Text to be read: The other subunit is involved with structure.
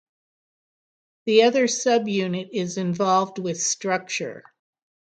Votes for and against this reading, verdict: 6, 0, accepted